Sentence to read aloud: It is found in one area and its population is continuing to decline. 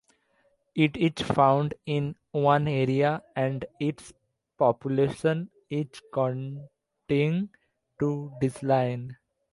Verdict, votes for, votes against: rejected, 1, 2